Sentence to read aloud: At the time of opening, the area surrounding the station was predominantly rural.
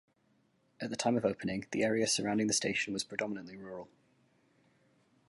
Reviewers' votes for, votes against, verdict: 1, 2, rejected